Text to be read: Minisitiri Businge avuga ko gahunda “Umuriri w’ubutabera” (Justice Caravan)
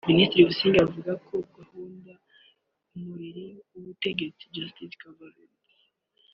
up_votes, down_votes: 1, 2